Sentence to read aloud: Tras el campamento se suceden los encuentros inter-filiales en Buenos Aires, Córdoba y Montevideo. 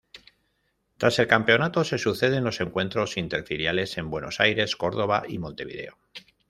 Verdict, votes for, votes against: rejected, 1, 2